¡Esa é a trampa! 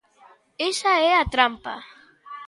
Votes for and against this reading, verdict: 2, 0, accepted